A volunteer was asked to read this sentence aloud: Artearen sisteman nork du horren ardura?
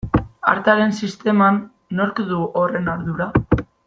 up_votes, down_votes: 2, 0